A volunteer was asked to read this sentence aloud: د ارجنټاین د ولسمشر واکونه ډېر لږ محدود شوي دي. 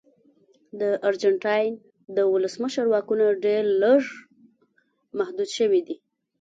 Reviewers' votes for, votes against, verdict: 2, 0, accepted